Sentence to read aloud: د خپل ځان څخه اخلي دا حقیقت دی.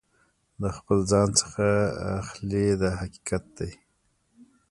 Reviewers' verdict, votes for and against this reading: rejected, 1, 2